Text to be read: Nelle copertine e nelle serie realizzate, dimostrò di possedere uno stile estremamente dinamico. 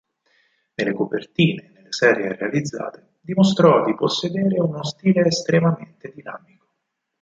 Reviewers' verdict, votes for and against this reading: rejected, 2, 4